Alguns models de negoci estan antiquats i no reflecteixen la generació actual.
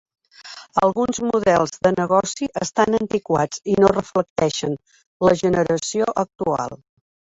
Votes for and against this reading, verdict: 3, 1, accepted